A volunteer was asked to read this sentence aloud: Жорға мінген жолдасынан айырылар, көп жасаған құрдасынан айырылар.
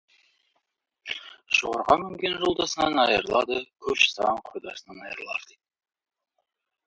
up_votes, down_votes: 0, 2